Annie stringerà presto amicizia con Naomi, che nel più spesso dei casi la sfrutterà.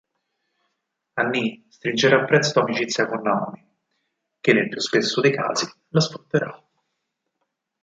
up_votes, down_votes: 4, 2